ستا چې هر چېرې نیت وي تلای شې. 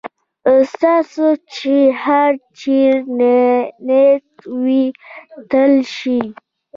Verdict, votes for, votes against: accepted, 2, 0